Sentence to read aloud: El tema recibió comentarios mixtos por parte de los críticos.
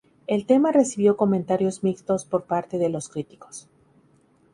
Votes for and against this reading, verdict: 2, 0, accepted